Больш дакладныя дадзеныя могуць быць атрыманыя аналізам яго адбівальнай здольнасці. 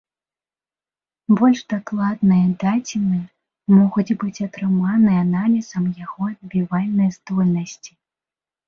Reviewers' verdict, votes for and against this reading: accepted, 3, 0